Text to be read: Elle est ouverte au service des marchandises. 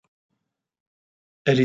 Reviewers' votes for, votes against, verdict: 0, 2, rejected